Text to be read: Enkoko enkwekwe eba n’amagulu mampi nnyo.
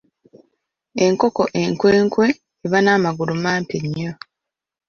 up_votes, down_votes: 1, 2